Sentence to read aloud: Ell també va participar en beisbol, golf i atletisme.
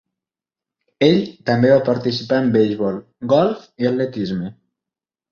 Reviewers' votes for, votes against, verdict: 3, 0, accepted